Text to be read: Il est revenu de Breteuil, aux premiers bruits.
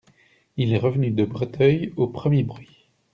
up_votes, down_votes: 2, 0